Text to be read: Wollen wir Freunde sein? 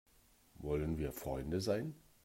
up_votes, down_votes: 2, 0